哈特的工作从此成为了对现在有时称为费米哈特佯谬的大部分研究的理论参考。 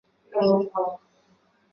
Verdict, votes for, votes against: rejected, 0, 4